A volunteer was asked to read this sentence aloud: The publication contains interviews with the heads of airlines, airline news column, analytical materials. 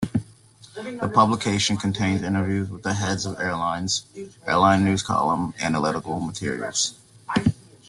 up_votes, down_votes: 0, 2